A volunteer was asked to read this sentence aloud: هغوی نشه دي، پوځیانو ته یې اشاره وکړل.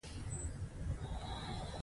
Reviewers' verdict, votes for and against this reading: rejected, 1, 2